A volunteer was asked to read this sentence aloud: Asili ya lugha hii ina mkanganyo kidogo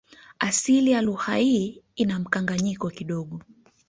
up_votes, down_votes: 0, 2